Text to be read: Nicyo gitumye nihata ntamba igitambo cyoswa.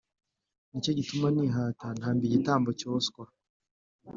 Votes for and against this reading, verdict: 3, 0, accepted